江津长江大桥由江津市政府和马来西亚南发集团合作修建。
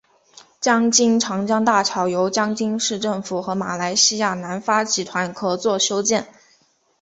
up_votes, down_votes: 4, 0